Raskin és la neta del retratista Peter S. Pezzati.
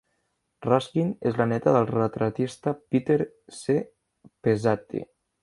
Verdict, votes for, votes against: rejected, 1, 2